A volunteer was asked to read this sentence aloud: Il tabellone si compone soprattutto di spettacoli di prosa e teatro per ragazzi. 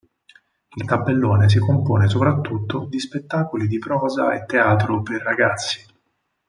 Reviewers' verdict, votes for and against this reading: accepted, 6, 0